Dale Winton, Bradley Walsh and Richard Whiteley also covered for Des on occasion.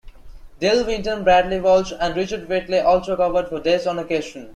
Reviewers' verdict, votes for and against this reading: rejected, 0, 2